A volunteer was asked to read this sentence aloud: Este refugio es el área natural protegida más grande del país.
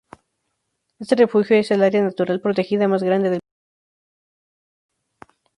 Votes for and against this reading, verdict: 0, 2, rejected